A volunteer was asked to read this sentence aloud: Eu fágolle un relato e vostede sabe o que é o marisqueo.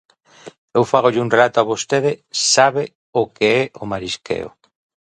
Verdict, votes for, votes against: rejected, 1, 2